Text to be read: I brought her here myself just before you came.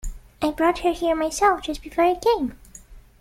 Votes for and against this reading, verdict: 2, 0, accepted